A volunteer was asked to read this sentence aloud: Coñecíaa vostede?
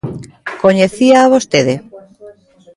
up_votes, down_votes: 1, 2